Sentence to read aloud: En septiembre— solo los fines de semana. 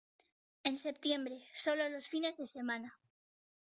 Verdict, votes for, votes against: accepted, 2, 0